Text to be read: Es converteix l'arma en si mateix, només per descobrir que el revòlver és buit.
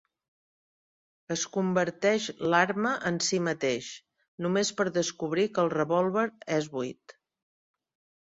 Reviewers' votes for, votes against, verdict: 6, 0, accepted